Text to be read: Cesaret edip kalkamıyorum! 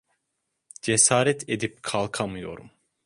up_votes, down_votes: 2, 0